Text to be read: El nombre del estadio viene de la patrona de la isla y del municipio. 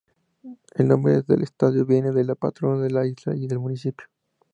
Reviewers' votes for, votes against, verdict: 2, 0, accepted